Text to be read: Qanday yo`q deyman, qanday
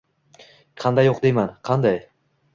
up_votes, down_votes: 2, 1